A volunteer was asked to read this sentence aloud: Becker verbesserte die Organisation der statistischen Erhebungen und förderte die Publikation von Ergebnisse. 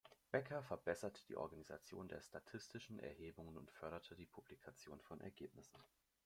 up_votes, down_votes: 1, 2